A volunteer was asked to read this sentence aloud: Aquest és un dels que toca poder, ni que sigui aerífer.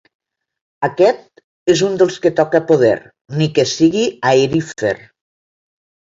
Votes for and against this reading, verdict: 0, 2, rejected